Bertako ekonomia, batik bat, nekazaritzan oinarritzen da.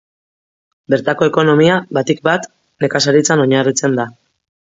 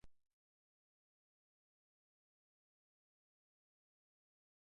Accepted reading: first